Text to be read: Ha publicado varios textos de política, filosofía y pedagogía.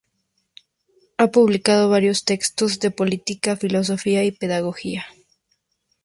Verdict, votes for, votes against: accepted, 2, 0